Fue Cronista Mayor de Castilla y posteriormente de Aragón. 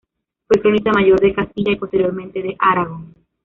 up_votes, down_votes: 1, 2